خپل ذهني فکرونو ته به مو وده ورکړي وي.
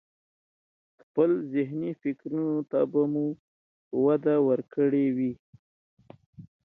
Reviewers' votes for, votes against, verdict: 2, 0, accepted